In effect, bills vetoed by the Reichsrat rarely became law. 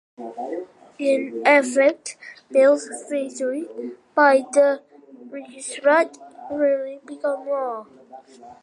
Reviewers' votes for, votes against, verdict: 1, 2, rejected